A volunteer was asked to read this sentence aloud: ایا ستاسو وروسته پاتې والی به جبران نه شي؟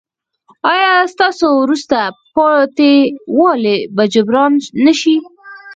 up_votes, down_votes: 0, 4